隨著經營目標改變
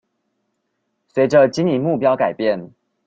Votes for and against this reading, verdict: 2, 0, accepted